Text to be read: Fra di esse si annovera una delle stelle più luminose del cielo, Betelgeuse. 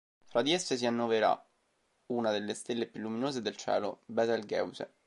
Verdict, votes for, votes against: rejected, 1, 2